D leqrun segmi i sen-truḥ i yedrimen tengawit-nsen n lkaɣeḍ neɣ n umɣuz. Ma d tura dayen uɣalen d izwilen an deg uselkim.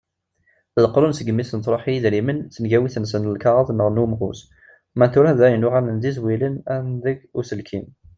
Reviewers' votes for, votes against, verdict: 1, 2, rejected